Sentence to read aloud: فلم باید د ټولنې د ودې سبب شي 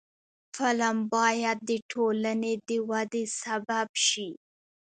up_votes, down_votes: 1, 2